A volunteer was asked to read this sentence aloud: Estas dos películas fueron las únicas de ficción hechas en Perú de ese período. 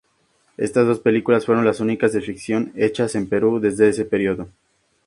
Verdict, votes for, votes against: accepted, 2, 0